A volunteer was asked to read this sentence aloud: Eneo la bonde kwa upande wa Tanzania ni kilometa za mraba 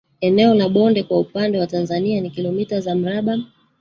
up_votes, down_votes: 3, 2